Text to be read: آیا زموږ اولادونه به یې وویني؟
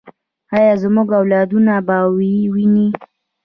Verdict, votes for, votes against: rejected, 1, 2